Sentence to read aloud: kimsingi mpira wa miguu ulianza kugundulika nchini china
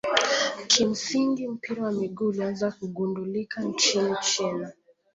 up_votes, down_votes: 2, 0